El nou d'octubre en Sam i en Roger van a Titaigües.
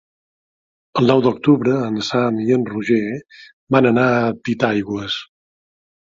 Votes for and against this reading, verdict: 1, 2, rejected